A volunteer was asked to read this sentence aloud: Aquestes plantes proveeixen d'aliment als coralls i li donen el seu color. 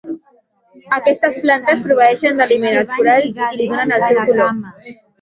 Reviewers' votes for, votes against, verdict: 1, 2, rejected